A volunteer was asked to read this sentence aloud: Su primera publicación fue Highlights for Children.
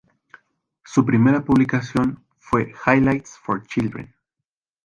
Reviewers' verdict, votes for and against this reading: rejected, 0, 2